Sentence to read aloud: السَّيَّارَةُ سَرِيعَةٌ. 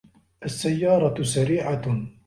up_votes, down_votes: 2, 0